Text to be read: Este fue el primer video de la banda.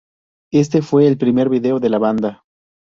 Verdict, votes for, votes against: rejected, 0, 2